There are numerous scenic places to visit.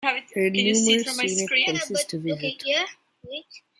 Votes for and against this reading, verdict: 0, 2, rejected